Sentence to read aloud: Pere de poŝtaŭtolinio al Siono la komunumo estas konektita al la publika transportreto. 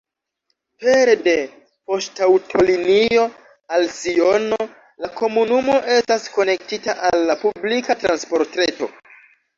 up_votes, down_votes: 0, 2